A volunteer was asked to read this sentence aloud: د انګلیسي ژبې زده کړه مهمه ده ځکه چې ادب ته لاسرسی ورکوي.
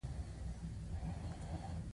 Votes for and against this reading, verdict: 2, 0, accepted